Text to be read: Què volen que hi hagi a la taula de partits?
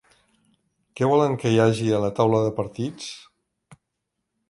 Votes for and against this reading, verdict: 4, 0, accepted